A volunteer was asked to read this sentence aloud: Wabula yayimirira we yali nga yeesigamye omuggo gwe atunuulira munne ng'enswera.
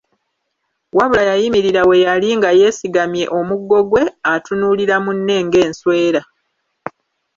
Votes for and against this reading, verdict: 2, 0, accepted